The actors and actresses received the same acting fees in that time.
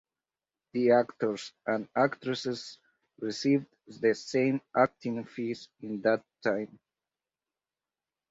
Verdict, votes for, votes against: accepted, 4, 0